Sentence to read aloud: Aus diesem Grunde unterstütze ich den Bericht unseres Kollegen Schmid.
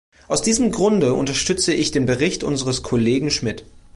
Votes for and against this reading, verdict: 2, 0, accepted